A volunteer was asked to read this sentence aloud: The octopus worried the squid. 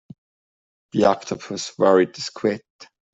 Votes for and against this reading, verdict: 2, 0, accepted